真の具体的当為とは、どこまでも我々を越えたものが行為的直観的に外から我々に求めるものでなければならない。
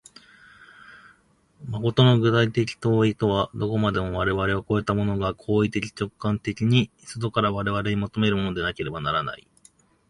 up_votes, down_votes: 2, 3